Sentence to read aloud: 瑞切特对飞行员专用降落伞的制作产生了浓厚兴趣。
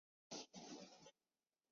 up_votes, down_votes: 0, 3